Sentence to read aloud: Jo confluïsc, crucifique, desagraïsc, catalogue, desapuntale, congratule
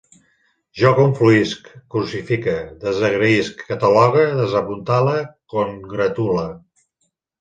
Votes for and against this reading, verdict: 2, 0, accepted